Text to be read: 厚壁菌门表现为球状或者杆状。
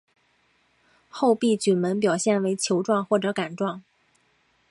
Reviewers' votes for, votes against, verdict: 2, 0, accepted